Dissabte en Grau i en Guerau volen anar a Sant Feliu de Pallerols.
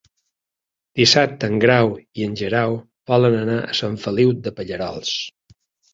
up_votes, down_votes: 0, 3